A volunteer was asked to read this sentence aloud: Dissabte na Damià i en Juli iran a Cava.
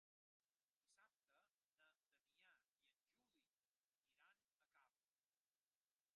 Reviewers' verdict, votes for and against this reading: rejected, 0, 2